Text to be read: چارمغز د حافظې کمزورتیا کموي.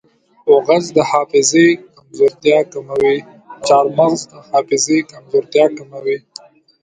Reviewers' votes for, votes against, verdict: 0, 2, rejected